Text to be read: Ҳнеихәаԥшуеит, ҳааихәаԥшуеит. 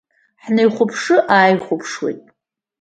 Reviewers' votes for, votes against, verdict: 0, 2, rejected